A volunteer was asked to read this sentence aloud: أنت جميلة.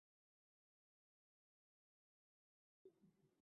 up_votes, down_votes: 0, 3